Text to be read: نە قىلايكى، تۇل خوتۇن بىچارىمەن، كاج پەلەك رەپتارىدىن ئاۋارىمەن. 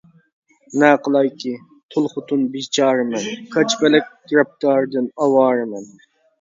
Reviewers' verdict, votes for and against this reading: rejected, 1, 2